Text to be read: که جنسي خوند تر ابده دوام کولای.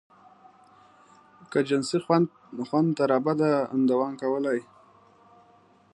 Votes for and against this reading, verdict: 1, 2, rejected